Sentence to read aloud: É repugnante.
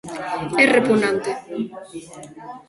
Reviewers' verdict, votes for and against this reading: rejected, 1, 2